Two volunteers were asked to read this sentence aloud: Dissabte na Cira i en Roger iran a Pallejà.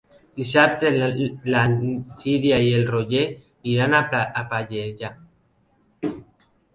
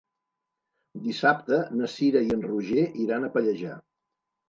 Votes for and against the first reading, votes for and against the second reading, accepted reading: 0, 2, 2, 0, second